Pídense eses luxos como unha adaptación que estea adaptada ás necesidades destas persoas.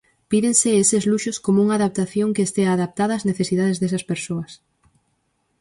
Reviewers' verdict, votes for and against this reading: rejected, 0, 4